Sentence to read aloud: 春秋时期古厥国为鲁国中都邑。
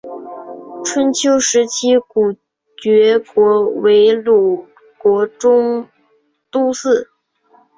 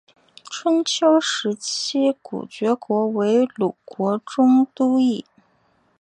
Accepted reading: second